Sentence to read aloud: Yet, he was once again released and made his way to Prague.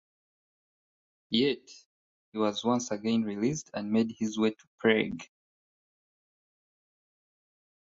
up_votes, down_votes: 2, 0